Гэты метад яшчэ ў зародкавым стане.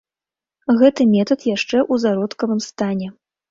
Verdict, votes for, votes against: rejected, 1, 2